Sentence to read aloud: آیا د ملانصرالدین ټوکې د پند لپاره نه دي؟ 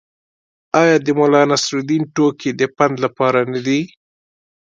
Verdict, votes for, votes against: accepted, 2, 0